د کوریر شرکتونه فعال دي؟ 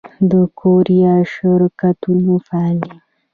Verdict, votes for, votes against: rejected, 0, 2